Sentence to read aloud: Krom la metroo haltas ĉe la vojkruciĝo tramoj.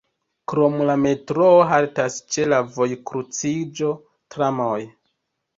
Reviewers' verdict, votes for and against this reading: rejected, 1, 2